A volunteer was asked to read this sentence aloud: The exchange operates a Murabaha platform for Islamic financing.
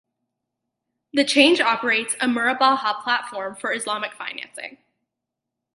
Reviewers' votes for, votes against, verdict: 0, 2, rejected